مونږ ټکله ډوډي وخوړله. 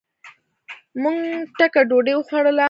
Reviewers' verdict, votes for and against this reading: rejected, 1, 2